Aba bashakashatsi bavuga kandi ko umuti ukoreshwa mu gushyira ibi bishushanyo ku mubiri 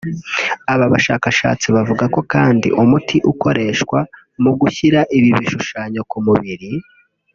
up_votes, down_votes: 1, 2